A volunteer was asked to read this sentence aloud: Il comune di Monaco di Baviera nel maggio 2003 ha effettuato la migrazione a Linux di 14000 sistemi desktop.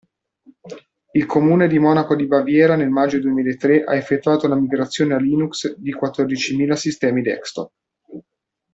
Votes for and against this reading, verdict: 0, 2, rejected